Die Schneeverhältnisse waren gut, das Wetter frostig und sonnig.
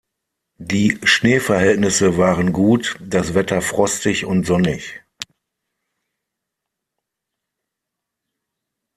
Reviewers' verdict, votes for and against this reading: accepted, 6, 0